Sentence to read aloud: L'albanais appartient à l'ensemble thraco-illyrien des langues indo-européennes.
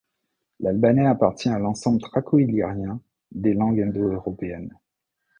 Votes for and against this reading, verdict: 1, 2, rejected